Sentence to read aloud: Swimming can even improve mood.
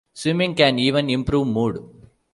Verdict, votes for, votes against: accepted, 2, 0